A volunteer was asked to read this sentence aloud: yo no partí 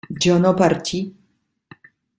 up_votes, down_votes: 2, 1